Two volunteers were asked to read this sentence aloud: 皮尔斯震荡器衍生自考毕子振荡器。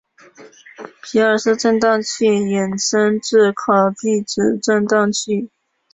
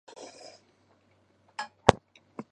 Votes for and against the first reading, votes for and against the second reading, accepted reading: 3, 0, 0, 3, first